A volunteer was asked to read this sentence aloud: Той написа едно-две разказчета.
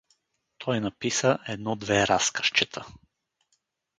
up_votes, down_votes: 0, 2